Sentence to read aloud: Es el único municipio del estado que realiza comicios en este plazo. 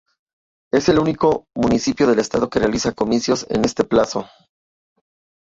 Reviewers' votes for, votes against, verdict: 0, 2, rejected